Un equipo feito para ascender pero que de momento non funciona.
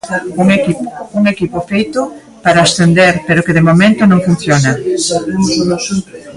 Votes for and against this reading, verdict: 0, 3, rejected